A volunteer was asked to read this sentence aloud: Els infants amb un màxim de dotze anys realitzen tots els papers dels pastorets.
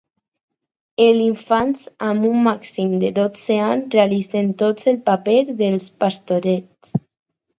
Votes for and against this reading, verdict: 2, 2, rejected